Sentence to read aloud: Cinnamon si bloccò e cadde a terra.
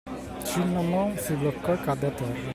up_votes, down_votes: 2, 0